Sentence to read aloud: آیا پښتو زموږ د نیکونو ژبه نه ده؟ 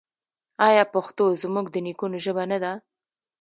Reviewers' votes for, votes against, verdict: 2, 1, accepted